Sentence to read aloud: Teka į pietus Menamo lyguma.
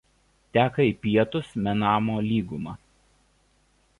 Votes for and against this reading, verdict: 2, 0, accepted